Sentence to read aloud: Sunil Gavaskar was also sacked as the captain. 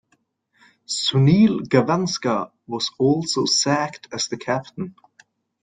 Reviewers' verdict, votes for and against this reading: accepted, 2, 0